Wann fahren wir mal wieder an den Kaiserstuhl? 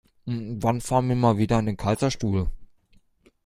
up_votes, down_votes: 2, 1